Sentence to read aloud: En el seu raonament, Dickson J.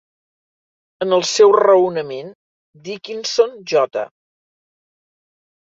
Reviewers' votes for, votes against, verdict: 1, 2, rejected